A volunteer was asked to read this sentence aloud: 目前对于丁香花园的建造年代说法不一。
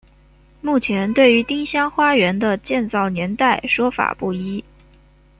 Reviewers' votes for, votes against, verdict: 2, 0, accepted